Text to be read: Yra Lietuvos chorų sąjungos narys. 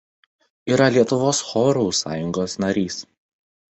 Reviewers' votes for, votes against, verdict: 2, 0, accepted